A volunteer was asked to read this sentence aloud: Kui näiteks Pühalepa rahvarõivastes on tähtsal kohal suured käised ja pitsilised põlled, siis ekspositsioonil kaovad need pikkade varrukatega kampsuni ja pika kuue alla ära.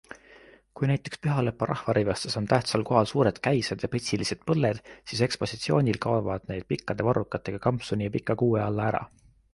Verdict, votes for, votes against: accepted, 2, 0